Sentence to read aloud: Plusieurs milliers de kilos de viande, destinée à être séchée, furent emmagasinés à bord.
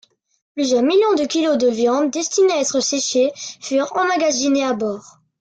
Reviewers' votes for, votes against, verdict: 1, 2, rejected